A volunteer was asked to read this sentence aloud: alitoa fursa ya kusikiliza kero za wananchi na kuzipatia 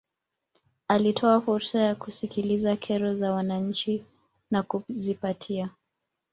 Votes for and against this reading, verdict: 1, 2, rejected